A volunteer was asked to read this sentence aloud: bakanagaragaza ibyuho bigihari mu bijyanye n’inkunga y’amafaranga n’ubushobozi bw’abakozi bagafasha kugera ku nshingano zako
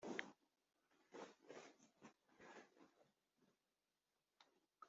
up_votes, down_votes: 0, 2